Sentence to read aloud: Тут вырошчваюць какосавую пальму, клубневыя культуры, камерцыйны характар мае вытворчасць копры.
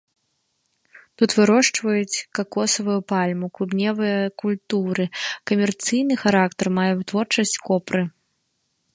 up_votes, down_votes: 0, 2